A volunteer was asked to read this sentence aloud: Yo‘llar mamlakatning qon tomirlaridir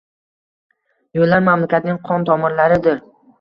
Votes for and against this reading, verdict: 2, 0, accepted